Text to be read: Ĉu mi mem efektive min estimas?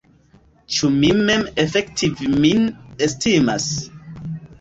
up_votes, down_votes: 1, 2